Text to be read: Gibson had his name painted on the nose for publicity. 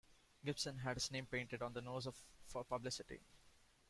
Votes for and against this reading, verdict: 0, 2, rejected